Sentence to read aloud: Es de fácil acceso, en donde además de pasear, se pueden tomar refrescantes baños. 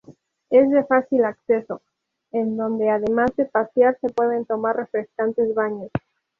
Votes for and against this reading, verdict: 2, 0, accepted